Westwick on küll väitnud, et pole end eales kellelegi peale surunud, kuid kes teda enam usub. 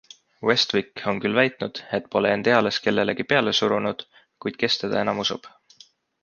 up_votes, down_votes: 2, 0